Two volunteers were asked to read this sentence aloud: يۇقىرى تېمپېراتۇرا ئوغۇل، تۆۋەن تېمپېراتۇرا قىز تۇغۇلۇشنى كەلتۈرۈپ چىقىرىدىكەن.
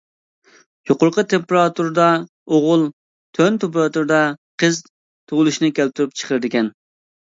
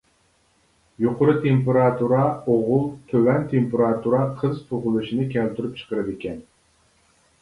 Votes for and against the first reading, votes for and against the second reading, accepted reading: 0, 2, 2, 0, second